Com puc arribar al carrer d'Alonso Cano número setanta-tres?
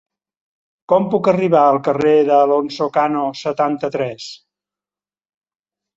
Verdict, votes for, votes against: rejected, 0, 2